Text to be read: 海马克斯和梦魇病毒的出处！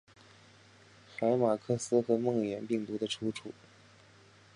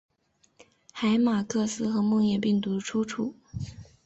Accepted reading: first